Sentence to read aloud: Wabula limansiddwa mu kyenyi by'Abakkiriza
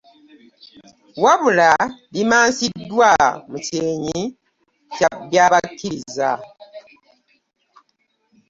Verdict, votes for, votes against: rejected, 1, 2